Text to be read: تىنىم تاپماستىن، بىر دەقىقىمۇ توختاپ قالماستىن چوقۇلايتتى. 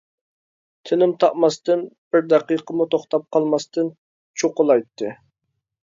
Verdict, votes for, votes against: accepted, 2, 0